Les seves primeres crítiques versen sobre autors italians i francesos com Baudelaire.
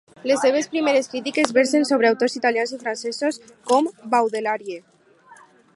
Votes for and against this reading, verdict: 2, 4, rejected